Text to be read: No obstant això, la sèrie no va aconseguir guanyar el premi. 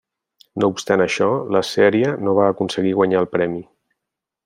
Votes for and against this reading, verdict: 3, 0, accepted